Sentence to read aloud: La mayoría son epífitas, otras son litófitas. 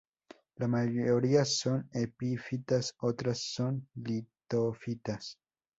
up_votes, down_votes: 2, 0